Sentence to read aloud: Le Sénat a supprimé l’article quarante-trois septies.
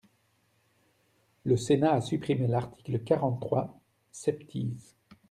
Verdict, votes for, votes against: accepted, 2, 0